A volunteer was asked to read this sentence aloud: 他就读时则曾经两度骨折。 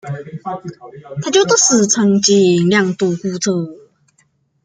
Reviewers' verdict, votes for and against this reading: rejected, 1, 2